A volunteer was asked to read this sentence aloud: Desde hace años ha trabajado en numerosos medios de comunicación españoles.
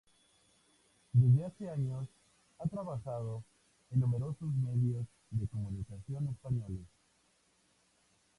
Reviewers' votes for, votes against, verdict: 2, 0, accepted